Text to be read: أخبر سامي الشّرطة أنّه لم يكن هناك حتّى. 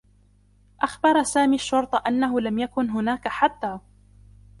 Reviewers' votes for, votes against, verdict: 1, 2, rejected